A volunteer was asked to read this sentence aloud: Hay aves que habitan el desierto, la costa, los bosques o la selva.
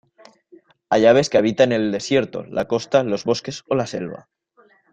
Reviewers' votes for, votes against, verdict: 2, 1, accepted